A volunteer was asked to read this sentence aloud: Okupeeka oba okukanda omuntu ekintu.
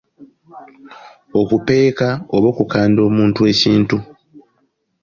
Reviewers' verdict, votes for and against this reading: accepted, 2, 1